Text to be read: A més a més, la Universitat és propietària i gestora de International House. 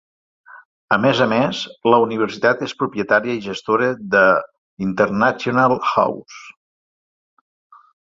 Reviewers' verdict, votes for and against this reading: accepted, 3, 1